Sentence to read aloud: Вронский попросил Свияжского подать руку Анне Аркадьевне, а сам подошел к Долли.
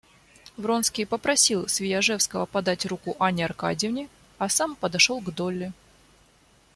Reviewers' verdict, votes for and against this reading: accepted, 2, 1